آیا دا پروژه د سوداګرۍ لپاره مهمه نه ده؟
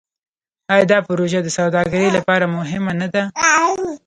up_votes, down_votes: 2, 0